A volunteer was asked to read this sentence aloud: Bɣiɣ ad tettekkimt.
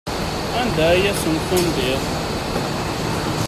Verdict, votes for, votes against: rejected, 0, 2